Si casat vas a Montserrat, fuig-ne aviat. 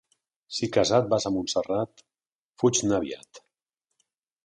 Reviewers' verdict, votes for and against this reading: accepted, 2, 0